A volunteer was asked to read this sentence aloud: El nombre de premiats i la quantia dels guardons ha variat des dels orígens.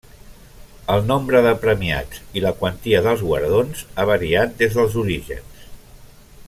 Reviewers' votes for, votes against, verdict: 3, 0, accepted